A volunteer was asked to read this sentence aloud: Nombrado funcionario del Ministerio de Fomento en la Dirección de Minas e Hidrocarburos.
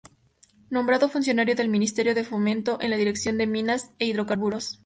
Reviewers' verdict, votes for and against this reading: accepted, 2, 0